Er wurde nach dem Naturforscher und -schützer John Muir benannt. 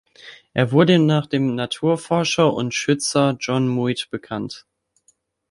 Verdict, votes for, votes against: accepted, 3, 2